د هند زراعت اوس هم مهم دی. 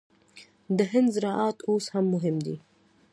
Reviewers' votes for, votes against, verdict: 2, 0, accepted